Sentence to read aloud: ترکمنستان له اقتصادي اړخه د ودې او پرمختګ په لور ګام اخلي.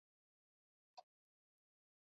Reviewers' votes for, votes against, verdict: 0, 2, rejected